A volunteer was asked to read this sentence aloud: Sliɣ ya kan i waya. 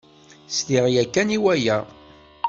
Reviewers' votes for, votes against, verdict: 2, 0, accepted